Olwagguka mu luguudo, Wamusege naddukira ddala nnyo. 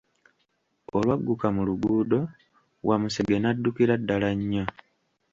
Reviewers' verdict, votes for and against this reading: rejected, 1, 2